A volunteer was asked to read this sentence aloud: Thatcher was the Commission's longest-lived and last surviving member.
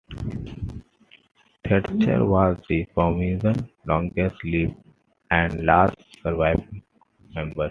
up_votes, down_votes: 0, 2